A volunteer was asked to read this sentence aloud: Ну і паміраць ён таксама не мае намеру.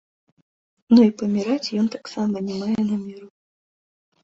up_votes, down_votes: 2, 1